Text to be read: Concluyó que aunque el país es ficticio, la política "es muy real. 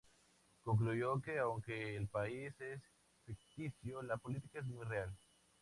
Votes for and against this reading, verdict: 2, 0, accepted